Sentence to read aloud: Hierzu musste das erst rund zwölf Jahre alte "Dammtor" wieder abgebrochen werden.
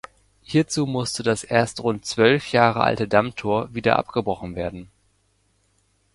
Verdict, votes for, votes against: accepted, 2, 0